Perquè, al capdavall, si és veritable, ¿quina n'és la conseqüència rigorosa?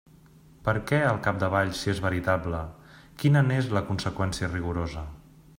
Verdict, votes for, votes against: rejected, 0, 2